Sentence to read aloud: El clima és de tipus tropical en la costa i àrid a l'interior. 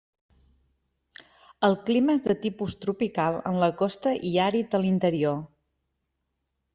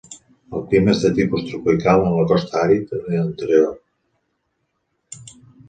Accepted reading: first